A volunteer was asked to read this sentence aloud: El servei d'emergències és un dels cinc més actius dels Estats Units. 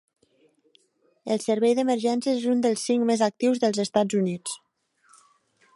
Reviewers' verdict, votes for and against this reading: rejected, 1, 2